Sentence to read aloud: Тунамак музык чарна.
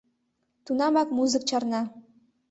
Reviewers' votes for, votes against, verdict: 2, 0, accepted